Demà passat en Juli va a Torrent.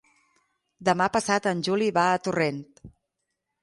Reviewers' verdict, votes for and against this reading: accepted, 6, 0